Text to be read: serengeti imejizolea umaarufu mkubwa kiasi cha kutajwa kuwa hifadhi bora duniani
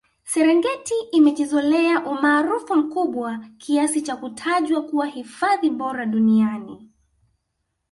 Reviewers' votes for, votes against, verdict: 2, 0, accepted